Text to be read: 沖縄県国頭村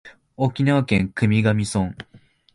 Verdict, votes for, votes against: accepted, 2, 1